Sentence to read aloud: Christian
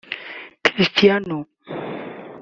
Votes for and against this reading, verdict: 0, 2, rejected